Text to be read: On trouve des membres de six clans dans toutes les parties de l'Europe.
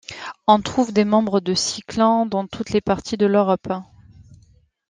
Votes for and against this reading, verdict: 2, 0, accepted